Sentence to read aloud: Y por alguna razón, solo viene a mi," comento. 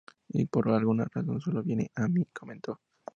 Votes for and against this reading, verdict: 0, 2, rejected